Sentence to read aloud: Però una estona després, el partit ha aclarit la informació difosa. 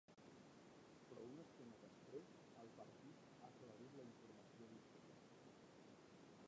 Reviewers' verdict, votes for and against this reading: rejected, 0, 2